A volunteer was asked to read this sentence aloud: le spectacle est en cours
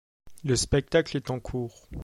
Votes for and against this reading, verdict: 2, 0, accepted